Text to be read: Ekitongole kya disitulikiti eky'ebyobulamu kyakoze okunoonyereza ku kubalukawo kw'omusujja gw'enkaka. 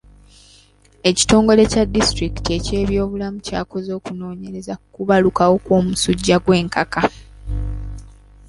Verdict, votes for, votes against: accepted, 2, 0